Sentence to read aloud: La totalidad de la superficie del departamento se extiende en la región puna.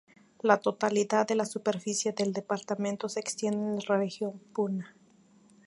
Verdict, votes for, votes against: rejected, 0, 2